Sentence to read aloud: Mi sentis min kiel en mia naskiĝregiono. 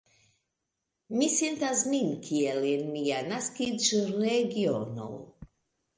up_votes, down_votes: 1, 2